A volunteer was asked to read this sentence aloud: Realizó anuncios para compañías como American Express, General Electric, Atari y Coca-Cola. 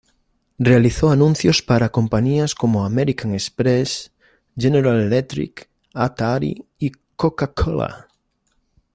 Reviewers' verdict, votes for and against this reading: accepted, 2, 1